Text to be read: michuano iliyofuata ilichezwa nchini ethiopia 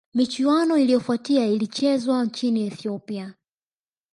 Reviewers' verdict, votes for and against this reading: rejected, 0, 2